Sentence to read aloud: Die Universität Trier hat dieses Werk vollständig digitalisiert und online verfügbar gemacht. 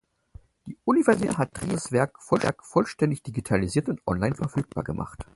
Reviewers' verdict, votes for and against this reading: rejected, 0, 4